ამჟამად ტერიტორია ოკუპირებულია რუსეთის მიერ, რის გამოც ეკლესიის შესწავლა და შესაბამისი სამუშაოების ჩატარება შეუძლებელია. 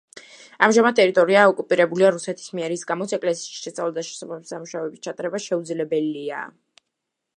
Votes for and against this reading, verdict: 1, 2, rejected